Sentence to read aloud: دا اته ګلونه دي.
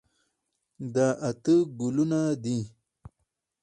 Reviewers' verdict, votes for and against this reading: rejected, 2, 2